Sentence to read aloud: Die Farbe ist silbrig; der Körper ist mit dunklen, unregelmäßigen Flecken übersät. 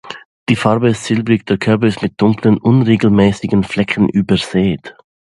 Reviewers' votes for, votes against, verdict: 2, 0, accepted